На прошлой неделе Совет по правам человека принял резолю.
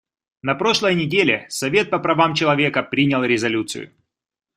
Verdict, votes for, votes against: rejected, 1, 2